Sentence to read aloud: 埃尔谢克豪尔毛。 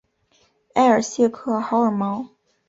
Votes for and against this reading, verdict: 2, 1, accepted